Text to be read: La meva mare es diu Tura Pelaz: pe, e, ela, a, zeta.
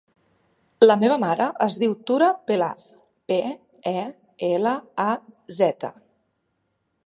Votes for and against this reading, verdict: 2, 0, accepted